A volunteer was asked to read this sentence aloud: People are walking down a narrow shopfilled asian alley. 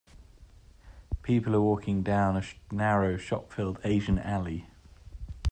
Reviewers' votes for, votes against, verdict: 1, 2, rejected